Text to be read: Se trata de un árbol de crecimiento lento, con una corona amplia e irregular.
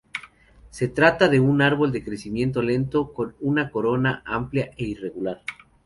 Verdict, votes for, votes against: accepted, 2, 0